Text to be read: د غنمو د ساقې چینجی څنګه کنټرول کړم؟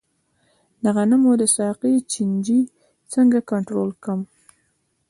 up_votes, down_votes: 2, 0